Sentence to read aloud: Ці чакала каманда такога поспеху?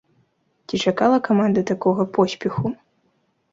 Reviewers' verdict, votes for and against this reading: accepted, 2, 0